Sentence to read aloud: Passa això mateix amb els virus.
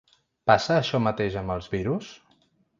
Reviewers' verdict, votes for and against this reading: rejected, 1, 2